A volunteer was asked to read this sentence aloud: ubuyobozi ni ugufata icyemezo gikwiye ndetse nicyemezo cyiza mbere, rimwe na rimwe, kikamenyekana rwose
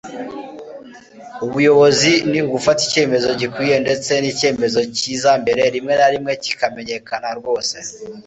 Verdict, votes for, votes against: accepted, 2, 0